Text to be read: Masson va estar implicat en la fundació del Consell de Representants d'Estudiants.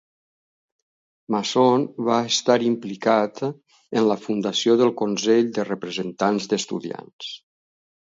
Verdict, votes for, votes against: accepted, 2, 0